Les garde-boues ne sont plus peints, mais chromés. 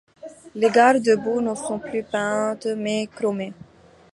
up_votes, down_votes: 2, 0